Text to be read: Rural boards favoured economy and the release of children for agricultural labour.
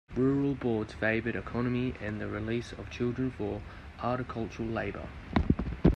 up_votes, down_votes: 2, 1